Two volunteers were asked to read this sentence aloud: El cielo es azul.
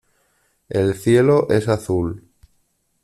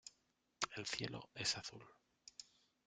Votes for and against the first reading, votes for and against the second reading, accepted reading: 2, 0, 1, 2, first